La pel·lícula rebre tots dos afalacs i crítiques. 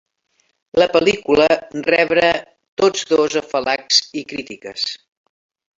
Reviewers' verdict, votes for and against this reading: accepted, 3, 1